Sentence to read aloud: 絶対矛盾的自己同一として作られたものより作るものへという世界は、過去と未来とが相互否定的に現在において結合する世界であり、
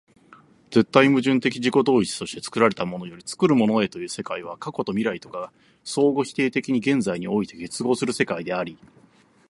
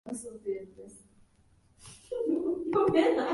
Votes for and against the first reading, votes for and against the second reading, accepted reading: 2, 0, 0, 3, first